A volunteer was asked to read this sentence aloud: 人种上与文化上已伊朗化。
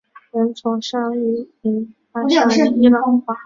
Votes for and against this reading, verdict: 2, 0, accepted